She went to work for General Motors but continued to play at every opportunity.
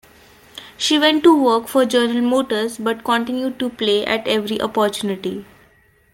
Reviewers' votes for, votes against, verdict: 2, 0, accepted